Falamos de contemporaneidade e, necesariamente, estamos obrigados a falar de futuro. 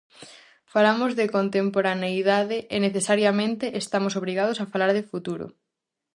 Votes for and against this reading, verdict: 4, 0, accepted